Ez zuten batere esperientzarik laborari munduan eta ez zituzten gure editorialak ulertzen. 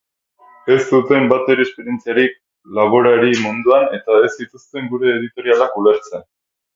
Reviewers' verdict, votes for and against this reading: accepted, 2, 0